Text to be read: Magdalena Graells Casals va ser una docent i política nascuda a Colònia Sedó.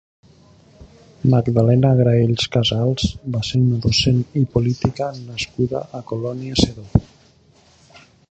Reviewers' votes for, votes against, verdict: 2, 0, accepted